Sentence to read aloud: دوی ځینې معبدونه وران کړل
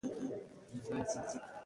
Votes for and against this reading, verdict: 1, 2, rejected